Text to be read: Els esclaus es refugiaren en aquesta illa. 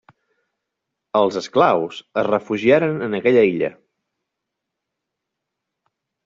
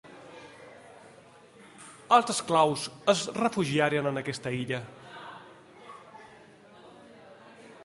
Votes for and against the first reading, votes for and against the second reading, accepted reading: 0, 2, 2, 1, second